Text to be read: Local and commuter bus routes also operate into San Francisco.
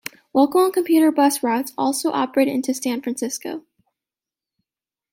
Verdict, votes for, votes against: accepted, 2, 0